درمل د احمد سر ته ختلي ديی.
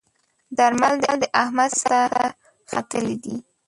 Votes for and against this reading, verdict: 2, 5, rejected